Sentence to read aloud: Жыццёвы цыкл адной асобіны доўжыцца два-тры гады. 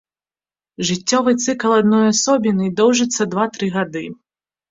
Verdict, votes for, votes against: accepted, 3, 0